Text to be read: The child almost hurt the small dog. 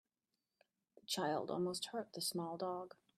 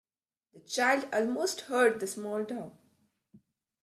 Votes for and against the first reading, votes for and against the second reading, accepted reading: 1, 2, 2, 0, second